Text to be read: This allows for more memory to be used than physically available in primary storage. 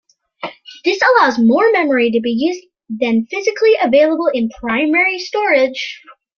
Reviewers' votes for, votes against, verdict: 0, 2, rejected